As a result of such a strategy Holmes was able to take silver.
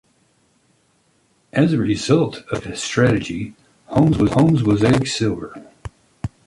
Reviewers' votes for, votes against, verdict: 0, 3, rejected